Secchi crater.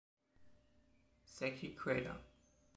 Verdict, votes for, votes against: rejected, 1, 2